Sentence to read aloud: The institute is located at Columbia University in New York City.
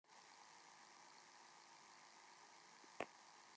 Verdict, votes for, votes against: rejected, 0, 2